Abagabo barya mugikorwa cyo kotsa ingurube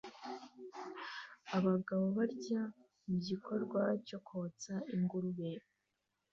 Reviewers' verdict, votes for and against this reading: accepted, 2, 0